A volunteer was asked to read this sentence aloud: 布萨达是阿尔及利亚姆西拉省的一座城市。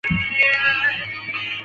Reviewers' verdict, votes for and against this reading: rejected, 0, 3